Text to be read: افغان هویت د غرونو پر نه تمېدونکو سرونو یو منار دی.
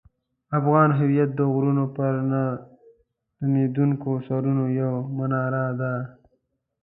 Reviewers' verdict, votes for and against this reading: rejected, 1, 2